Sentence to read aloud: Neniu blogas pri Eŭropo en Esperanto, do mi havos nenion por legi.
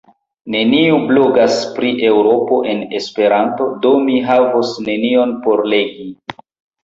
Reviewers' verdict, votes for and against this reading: accepted, 2, 0